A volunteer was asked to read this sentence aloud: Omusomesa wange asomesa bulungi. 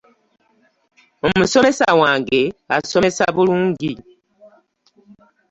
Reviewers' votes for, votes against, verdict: 2, 0, accepted